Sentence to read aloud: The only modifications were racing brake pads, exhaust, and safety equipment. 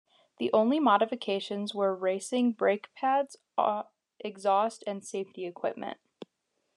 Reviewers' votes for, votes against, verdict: 2, 0, accepted